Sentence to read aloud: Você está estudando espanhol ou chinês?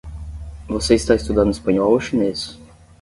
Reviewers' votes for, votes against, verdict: 10, 0, accepted